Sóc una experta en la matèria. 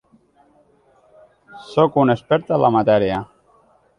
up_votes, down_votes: 3, 0